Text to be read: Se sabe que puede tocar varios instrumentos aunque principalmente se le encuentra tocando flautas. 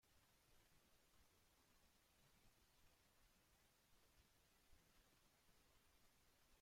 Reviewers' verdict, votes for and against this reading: rejected, 0, 2